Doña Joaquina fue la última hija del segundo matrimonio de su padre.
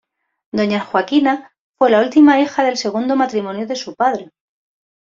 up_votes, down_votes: 2, 0